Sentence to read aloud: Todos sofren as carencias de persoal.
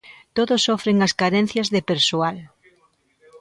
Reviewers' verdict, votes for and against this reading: rejected, 0, 2